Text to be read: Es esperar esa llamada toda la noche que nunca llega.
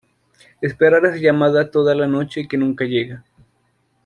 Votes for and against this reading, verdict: 0, 2, rejected